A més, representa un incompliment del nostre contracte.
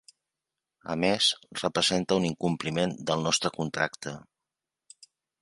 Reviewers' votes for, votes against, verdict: 3, 1, accepted